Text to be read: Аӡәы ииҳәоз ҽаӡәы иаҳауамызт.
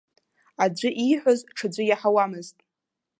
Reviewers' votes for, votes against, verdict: 2, 0, accepted